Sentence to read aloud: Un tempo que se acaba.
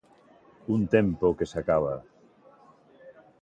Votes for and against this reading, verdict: 2, 0, accepted